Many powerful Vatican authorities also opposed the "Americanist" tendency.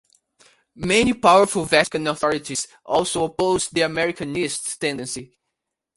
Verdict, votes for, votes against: accepted, 2, 1